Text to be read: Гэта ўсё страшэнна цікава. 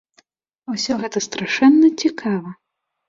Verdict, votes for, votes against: rejected, 1, 2